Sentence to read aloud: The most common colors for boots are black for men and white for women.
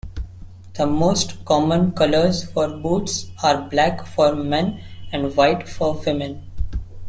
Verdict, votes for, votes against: accepted, 3, 0